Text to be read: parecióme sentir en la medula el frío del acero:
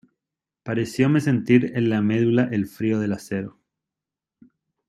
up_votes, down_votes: 2, 1